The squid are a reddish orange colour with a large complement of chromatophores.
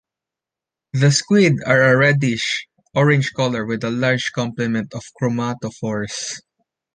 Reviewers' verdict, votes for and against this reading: accepted, 2, 0